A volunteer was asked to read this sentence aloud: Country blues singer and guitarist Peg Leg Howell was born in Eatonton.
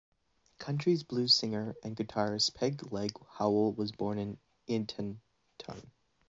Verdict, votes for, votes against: rejected, 0, 2